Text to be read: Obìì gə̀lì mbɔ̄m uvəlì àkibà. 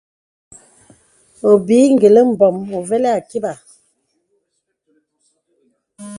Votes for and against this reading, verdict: 2, 1, accepted